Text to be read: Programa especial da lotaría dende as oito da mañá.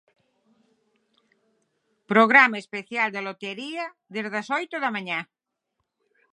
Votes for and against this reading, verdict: 6, 0, accepted